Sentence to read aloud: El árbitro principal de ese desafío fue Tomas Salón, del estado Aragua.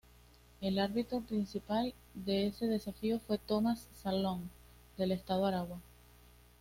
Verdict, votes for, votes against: accepted, 2, 0